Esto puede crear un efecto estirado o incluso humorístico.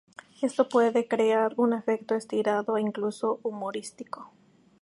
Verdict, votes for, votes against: accepted, 2, 0